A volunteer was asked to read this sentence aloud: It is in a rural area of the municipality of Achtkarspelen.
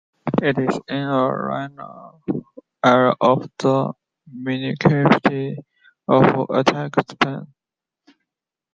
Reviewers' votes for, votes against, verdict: 0, 2, rejected